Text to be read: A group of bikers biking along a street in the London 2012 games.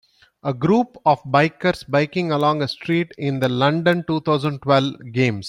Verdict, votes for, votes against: rejected, 0, 2